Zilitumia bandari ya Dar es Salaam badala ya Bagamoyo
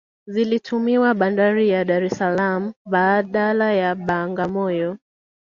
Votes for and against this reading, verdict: 1, 2, rejected